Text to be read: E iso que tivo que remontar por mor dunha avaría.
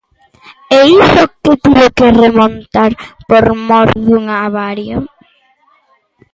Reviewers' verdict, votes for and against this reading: rejected, 0, 2